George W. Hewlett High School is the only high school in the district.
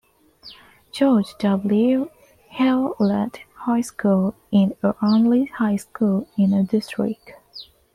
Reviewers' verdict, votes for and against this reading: rejected, 0, 2